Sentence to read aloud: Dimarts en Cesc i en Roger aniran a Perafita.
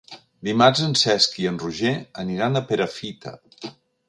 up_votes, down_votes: 2, 0